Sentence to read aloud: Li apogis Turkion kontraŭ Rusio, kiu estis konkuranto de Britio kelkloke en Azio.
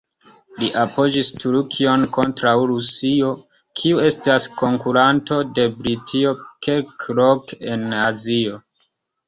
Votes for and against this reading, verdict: 2, 1, accepted